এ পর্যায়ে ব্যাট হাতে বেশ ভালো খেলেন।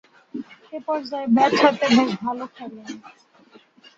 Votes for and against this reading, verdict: 0, 2, rejected